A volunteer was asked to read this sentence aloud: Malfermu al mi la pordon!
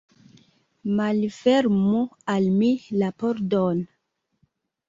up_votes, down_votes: 2, 0